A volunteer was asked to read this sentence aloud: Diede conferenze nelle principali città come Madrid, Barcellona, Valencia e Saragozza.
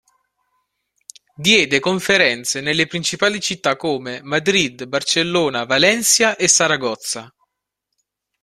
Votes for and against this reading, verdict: 3, 1, accepted